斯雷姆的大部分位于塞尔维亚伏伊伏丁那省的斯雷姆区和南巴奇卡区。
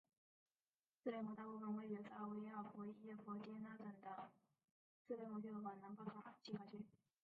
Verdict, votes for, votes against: rejected, 0, 2